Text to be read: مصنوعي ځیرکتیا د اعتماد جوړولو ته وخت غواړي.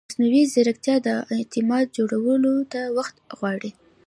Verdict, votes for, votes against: accepted, 2, 0